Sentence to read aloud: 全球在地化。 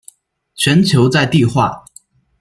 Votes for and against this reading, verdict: 2, 0, accepted